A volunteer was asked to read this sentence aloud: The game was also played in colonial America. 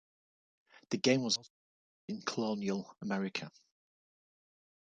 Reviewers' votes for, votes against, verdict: 0, 2, rejected